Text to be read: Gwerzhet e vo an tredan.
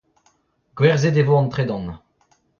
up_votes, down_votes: 0, 2